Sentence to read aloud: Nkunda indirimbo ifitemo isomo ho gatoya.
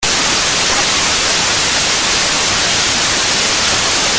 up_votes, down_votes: 0, 2